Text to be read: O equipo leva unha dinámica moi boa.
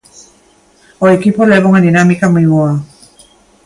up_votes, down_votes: 2, 0